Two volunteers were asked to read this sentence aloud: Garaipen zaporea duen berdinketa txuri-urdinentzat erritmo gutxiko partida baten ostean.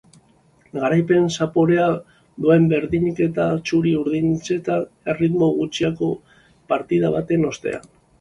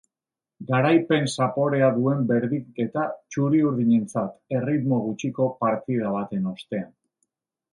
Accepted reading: second